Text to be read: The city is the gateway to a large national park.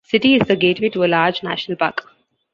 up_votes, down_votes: 0, 2